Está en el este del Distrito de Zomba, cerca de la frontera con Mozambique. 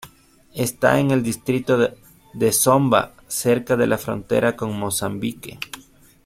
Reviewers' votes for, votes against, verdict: 2, 1, accepted